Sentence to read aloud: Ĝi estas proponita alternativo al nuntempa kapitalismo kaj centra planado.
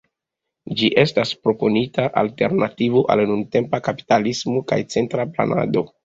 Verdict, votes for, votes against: accepted, 2, 0